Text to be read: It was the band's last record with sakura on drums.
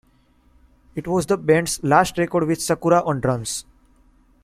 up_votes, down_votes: 2, 1